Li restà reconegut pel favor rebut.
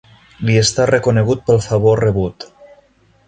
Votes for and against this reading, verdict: 1, 2, rejected